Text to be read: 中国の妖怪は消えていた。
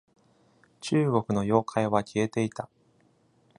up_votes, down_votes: 2, 0